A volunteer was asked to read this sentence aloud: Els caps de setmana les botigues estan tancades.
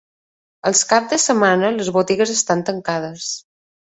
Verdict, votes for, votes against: accepted, 3, 0